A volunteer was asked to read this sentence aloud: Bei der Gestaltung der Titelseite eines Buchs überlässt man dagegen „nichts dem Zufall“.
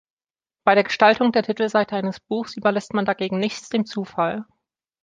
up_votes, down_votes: 2, 0